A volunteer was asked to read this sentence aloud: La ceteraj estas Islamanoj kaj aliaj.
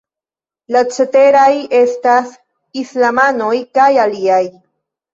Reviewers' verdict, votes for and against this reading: accepted, 2, 0